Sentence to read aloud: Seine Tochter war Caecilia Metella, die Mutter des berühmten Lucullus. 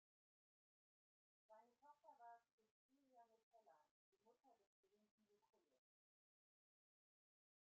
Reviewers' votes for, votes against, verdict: 0, 2, rejected